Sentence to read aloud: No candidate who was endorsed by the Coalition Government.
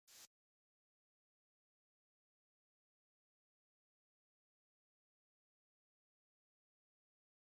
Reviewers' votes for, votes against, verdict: 0, 2, rejected